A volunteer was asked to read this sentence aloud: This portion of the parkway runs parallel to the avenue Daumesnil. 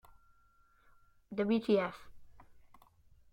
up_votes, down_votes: 0, 2